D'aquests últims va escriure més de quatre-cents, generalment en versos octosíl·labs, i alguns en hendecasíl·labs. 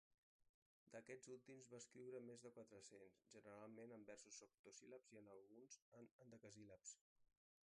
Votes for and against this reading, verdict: 1, 2, rejected